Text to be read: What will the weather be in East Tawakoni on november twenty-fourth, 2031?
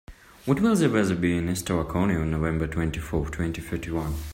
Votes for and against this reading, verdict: 0, 2, rejected